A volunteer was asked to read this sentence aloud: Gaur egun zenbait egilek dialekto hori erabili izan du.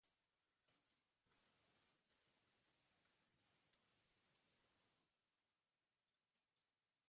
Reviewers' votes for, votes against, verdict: 1, 2, rejected